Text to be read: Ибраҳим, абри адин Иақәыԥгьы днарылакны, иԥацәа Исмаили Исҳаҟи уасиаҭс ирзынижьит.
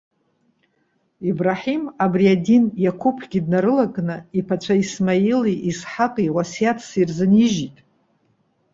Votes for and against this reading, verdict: 2, 0, accepted